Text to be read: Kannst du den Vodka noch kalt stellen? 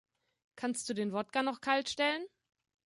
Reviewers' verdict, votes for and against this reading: rejected, 1, 2